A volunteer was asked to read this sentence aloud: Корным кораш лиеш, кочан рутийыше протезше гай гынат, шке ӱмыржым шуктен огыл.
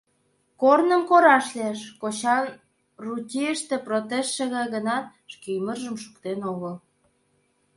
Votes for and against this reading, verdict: 0, 2, rejected